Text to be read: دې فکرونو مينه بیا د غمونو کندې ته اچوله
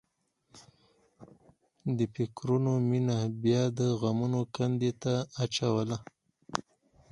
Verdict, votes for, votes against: accepted, 4, 0